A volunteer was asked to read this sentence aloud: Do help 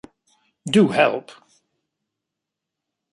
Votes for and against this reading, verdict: 2, 0, accepted